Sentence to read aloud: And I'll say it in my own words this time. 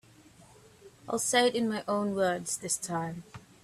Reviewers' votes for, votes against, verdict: 1, 2, rejected